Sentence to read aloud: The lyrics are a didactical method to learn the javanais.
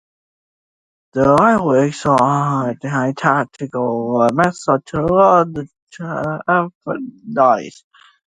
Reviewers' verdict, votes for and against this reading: rejected, 1, 2